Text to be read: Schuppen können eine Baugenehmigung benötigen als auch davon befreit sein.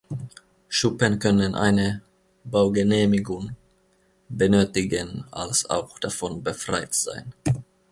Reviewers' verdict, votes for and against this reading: accepted, 2, 0